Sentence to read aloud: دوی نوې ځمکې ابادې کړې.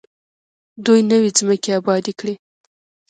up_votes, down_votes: 1, 2